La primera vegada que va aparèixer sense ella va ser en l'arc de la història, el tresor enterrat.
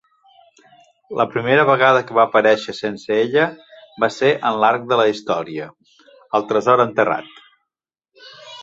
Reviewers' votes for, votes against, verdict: 0, 2, rejected